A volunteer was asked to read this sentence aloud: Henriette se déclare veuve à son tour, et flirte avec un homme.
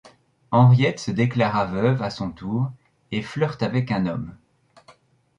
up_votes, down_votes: 0, 2